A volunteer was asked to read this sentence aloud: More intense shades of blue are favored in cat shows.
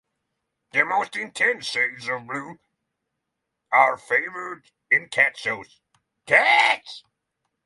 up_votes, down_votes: 0, 6